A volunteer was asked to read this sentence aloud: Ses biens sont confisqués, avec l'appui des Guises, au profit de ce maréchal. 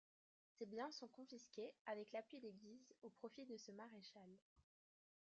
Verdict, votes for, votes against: rejected, 1, 2